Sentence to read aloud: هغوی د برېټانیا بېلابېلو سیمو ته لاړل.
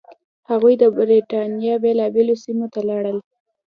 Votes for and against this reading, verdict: 2, 0, accepted